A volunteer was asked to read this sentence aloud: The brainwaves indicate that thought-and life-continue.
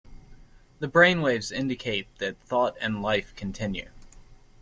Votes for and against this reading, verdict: 3, 0, accepted